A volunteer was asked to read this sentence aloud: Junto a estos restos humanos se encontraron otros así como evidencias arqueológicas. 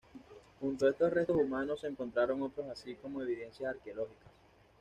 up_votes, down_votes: 2, 0